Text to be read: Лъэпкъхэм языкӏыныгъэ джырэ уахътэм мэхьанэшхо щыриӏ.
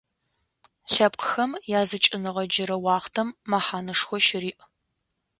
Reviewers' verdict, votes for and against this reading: accepted, 2, 0